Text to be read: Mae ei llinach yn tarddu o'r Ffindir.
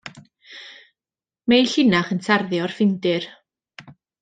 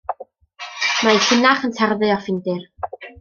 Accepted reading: first